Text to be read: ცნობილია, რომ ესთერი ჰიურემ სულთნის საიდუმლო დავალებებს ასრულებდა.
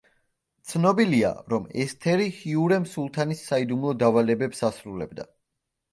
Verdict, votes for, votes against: rejected, 1, 2